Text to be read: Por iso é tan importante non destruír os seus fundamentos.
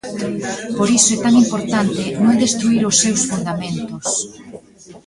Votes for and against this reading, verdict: 1, 2, rejected